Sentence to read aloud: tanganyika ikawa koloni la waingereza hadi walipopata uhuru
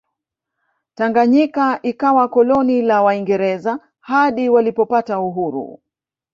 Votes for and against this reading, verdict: 1, 2, rejected